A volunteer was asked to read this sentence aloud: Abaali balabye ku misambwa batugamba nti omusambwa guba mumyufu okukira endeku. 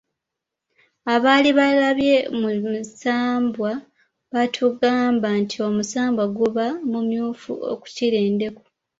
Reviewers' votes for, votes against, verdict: 1, 2, rejected